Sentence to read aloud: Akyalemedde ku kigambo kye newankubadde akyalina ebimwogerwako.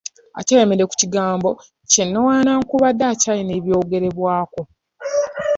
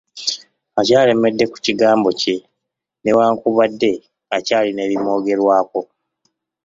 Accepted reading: second